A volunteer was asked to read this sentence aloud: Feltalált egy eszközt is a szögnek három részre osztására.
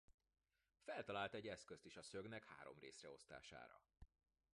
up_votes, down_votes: 1, 2